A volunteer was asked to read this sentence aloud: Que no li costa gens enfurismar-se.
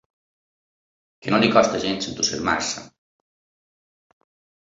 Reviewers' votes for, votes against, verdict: 2, 1, accepted